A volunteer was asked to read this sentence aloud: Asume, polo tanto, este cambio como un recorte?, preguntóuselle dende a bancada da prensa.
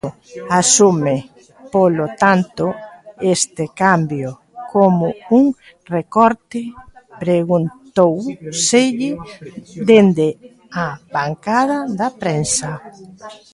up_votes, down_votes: 1, 2